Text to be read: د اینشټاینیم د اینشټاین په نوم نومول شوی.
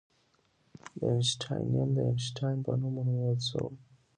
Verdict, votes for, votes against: rejected, 1, 2